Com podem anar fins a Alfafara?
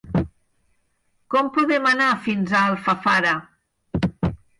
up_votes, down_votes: 4, 0